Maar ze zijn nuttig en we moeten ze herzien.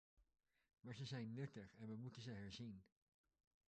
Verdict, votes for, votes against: rejected, 0, 2